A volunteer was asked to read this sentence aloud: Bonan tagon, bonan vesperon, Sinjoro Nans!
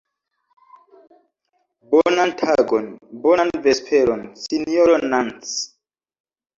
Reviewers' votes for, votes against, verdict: 0, 2, rejected